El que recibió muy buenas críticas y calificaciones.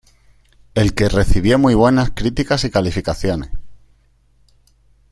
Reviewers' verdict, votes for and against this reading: accepted, 2, 0